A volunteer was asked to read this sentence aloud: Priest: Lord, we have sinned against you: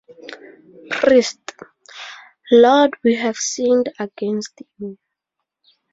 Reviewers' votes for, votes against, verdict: 2, 0, accepted